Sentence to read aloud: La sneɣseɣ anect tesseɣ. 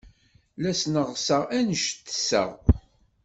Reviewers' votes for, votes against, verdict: 2, 0, accepted